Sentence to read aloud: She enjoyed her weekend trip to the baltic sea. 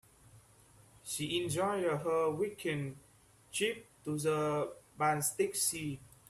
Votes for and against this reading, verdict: 1, 2, rejected